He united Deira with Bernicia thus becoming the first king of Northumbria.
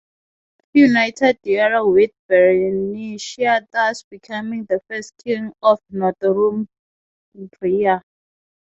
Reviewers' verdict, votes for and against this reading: rejected, 3, 6